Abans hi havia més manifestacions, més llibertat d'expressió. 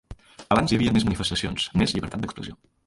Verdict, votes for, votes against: rejected, 0, 2